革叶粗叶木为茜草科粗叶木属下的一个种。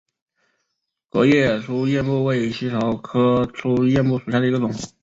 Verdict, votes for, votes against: accepted, 5, 1